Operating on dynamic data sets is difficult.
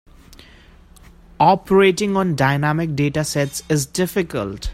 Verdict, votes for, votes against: accepted, 2, 0